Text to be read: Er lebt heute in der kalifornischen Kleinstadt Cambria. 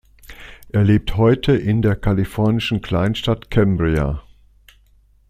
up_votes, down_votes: 2, 0